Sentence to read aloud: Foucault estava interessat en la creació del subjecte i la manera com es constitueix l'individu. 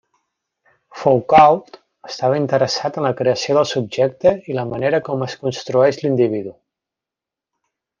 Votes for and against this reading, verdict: 0, 2, rejected